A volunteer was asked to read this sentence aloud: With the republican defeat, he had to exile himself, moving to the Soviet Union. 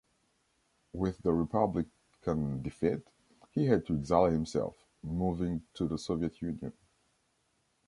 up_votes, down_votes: 2, 1